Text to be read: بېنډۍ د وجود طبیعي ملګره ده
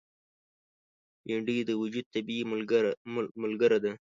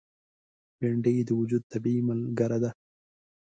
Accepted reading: second